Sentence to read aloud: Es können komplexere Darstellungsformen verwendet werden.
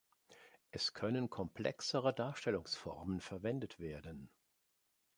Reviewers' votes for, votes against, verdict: 2, 0, accepted